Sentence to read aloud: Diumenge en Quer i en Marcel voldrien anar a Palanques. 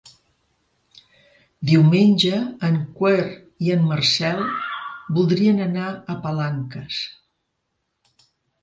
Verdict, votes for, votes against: rejected, 1, 2